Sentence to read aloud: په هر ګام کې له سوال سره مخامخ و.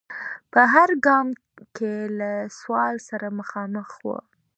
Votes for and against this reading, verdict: 2, 0, accepted